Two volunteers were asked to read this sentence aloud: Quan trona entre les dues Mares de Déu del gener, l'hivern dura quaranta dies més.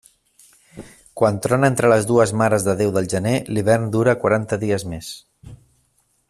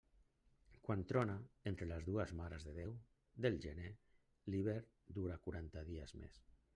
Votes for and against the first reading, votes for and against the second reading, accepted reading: 3, 0, 1, 2, first